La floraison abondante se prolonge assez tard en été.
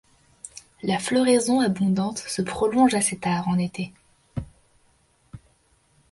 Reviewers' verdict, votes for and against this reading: accepted, 2, 0